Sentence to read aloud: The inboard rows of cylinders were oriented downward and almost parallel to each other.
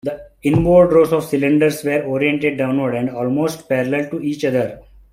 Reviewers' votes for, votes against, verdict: 2, 1, accepted